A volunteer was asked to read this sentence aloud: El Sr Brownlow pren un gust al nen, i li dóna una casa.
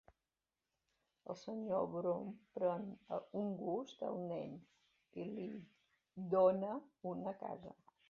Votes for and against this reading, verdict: 2, 1, accepted